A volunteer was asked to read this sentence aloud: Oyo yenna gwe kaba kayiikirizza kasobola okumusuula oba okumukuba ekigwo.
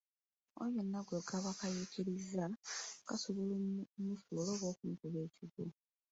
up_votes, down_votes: 1, 2